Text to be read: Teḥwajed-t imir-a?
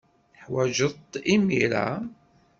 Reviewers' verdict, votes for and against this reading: accepted, 2, 0